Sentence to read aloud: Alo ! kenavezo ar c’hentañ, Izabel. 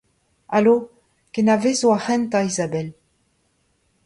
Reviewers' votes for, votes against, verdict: 1, 2, rejected